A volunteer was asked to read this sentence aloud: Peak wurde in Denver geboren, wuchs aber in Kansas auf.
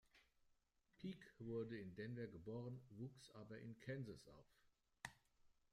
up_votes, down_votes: 2, 0